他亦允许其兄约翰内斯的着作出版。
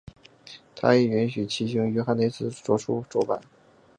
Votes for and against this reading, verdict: 2, 0, accepted